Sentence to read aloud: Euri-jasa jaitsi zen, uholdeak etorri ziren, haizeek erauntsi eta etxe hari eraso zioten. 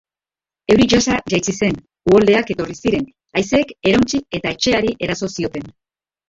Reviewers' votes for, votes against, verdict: 1, 5, rejected